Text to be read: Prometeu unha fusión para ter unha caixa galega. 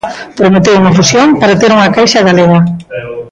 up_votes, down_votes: 0, 2